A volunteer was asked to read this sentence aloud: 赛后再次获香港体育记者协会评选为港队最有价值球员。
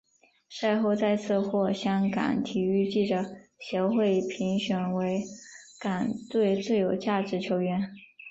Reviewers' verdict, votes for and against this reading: accepted, 5, 0